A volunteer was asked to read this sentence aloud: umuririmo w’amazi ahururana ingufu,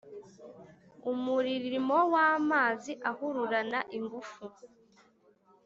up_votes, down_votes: 2, 0